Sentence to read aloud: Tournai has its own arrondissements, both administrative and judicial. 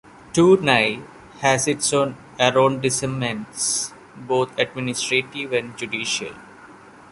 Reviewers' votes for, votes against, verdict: 2, 0, accepted